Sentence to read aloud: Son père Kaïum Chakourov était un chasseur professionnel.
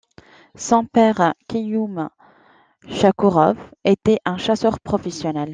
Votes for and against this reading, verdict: 2, 0, accepted